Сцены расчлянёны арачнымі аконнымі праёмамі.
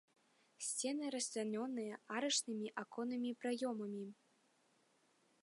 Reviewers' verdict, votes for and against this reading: rejected, 1, 2